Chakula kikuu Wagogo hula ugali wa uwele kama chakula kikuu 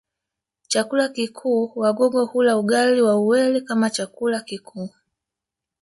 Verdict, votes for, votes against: rejected, 1, 2